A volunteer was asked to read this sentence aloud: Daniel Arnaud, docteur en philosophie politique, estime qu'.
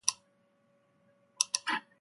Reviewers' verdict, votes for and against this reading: rejected, 0, 2